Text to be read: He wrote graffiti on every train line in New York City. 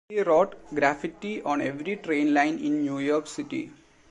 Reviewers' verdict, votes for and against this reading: rejected, 0, 2